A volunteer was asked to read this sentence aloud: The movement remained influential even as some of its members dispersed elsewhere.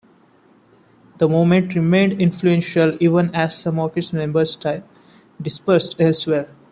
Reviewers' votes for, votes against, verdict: 1, 2, rejected